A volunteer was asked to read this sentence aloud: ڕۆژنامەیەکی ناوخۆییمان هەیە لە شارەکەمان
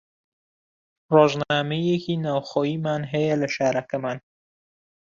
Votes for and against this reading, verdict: 2, 0, accepted